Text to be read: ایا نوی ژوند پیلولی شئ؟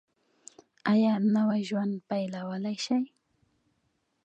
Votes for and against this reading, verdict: 2, 0, accepted